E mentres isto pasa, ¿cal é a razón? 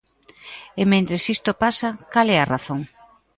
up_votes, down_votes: 3, 0